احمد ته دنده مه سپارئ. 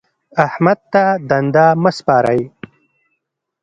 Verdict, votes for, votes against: accepted, 3, 0